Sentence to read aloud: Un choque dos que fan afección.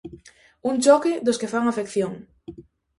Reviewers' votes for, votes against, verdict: 2, 0, accepted